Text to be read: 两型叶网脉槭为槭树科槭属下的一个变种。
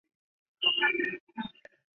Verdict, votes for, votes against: rejected, 0, 3